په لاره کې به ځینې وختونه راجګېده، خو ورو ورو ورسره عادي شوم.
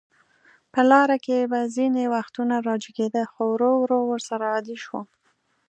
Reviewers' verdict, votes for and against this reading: accepted, 2, 0